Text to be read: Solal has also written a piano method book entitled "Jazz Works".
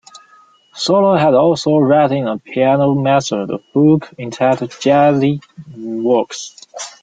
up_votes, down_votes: 0, 2